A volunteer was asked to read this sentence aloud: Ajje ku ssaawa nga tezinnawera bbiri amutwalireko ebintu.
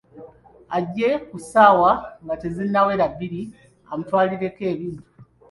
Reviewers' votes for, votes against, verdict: 2, 1, accepted